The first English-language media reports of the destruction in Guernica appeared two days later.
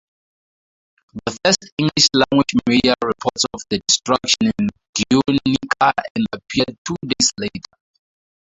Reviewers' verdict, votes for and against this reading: accepted, 2, 0